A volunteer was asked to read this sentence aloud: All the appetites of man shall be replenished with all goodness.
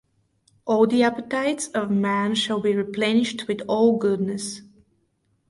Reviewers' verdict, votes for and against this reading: rejected, 2, 2